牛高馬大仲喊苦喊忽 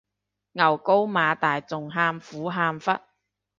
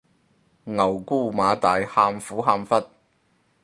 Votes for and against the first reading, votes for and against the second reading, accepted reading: 2, 0, 0, 4, first